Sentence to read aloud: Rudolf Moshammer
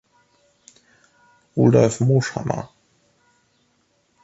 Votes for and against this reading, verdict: 2, 1, accepted